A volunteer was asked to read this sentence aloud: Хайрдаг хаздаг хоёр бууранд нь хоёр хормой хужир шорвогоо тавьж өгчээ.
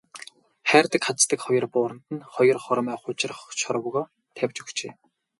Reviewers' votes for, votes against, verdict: 4, 0, accepted